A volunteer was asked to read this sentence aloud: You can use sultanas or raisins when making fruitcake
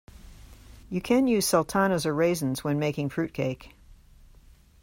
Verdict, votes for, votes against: accepted, 2, 0